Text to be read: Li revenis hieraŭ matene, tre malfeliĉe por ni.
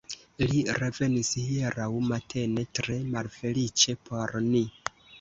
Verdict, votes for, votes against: accepted, 2, 0